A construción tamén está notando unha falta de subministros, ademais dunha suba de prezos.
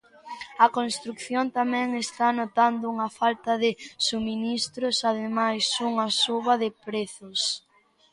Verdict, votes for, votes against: rejected, 0, 2